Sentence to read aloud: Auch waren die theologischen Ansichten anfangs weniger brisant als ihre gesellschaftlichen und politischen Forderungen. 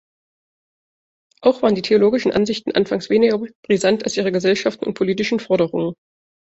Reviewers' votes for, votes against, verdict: 0, 2, rejected